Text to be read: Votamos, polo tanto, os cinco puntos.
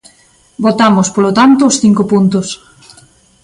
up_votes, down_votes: 2, 0